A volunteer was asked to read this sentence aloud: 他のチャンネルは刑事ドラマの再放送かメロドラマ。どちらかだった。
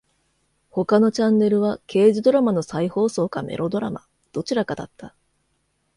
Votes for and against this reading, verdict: 2, 0, accepted